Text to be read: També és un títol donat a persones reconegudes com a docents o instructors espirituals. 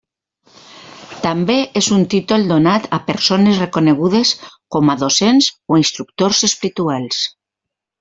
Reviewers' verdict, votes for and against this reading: rejected, 0, 2